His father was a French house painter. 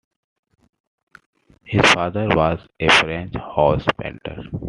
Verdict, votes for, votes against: accepted, 2, 0